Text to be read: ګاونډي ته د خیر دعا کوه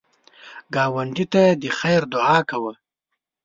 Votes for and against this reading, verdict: 2, 0, accepted